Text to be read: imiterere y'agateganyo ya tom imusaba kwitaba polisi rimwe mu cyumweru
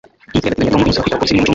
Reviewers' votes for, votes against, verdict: 1, 2, rejected